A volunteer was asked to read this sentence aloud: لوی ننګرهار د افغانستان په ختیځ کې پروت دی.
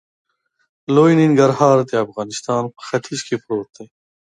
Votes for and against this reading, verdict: 2, 0, accepted